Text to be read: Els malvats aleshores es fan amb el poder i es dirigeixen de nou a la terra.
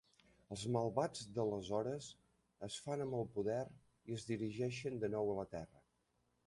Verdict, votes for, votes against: rejected, 1, 2